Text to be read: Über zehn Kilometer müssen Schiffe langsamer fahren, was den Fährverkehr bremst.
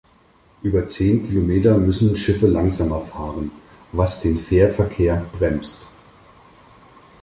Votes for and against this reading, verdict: 4, 0, accepted